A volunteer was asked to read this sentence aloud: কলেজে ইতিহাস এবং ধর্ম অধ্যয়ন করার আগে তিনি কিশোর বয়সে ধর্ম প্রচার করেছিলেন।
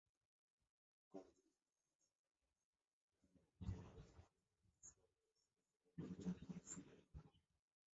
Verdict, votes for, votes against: rejected, 0, 3